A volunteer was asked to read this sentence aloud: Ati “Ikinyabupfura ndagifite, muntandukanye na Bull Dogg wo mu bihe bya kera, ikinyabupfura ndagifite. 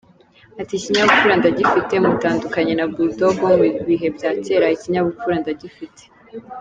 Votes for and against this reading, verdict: 2, 3, rejected